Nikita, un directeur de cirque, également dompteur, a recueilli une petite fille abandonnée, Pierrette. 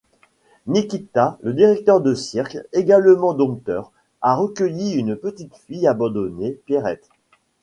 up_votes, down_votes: 1, 2